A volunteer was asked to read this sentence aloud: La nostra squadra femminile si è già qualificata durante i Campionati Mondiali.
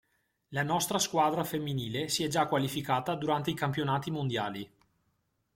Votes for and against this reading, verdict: 2, 0, accepted